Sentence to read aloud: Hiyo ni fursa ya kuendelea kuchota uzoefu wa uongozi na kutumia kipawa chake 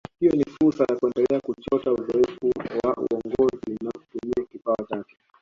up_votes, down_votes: 2, 1